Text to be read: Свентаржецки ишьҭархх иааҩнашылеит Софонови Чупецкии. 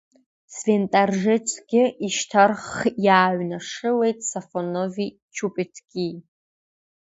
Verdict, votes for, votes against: accepted, 2, 0